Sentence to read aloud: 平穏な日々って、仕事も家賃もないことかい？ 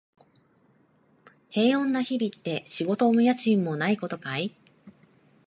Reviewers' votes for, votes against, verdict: 2, 0, accepted